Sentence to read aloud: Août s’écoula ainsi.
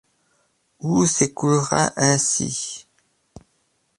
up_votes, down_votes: 0, 2